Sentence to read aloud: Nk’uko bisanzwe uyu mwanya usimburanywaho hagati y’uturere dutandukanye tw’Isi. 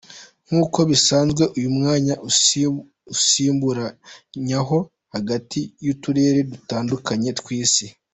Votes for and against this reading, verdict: 1, 2, rejected